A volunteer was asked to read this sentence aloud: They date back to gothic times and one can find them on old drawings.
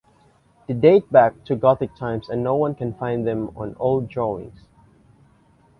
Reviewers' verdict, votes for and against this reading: rejected, 0, 2